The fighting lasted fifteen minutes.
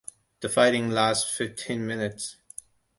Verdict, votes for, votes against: rejected, 0, 2